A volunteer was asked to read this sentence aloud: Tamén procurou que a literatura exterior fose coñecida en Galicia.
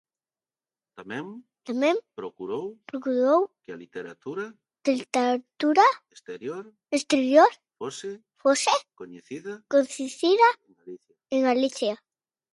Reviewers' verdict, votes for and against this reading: rejected, 0, 2